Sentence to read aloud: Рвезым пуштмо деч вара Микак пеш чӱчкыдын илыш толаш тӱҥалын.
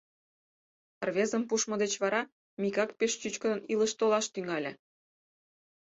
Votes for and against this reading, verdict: 2, 4, rejected